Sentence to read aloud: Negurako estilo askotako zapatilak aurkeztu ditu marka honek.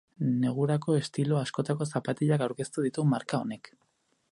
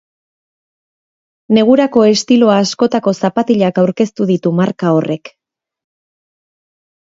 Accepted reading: first